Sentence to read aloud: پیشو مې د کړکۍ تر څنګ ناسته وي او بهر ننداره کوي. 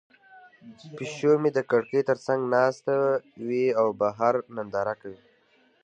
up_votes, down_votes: 2, 0